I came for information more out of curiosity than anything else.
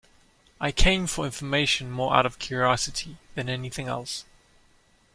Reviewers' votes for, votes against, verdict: 2, 0, accepted